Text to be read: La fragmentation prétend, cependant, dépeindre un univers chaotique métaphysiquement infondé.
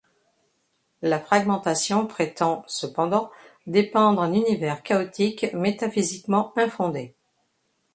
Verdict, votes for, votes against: accepted, 2, 0